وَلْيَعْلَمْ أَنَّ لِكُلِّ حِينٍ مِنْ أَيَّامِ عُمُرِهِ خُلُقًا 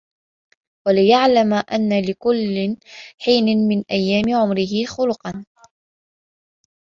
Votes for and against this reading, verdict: 2, 0, accepted